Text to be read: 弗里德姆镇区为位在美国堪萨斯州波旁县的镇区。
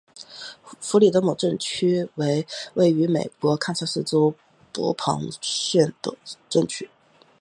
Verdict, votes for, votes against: rejected, 2, 3